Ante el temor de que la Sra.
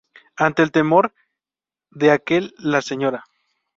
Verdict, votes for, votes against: rejected, 2, 2